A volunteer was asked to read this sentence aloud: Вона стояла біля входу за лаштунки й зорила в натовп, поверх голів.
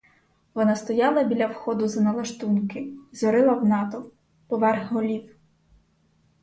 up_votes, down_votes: 2, 4